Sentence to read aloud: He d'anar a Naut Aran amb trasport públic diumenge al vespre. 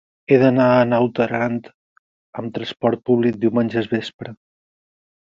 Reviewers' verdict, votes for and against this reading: accepted, 4, 2